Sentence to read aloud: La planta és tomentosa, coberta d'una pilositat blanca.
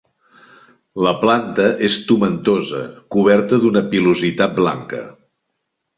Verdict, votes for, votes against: accepted, 3, 0